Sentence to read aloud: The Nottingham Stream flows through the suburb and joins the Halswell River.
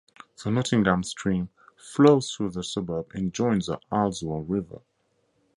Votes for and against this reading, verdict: 4, 0, accepted